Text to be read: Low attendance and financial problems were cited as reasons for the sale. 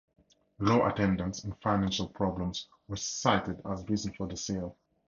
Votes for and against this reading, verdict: 4, 0, accepted